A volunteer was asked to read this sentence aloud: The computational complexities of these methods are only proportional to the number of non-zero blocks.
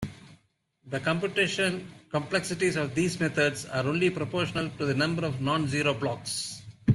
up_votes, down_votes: 1, 2